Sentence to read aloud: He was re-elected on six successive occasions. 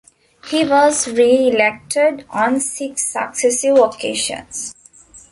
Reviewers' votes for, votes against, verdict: 2, 0, accepted